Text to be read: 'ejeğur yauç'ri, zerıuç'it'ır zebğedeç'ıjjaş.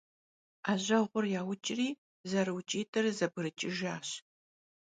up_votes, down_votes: 1, 2